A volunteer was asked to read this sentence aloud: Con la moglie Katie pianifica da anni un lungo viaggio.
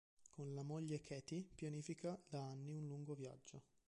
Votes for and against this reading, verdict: 2, 3, rejected